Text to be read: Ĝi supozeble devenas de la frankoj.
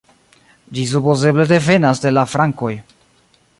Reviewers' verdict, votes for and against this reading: rejected, 1, 2